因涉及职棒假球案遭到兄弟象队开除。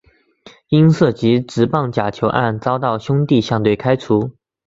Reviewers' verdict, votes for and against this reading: accepted, 3, 0